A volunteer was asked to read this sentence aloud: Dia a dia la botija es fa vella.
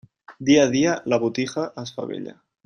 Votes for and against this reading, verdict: 1, 3, rejected